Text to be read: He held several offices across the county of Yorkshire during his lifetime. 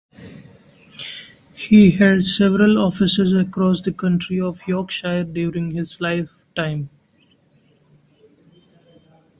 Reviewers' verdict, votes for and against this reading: rejected, 0, 2